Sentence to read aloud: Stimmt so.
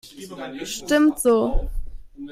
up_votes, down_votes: 2, 0